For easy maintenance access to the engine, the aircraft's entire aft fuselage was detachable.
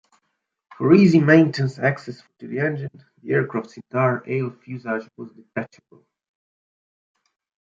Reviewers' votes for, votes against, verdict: 0, 2, rejected